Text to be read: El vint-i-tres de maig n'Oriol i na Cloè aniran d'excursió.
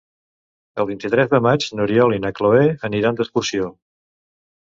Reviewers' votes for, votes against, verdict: 3, 0, accepted